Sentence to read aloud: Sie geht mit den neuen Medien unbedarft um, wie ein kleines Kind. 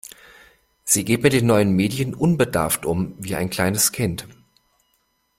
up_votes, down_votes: 2, 0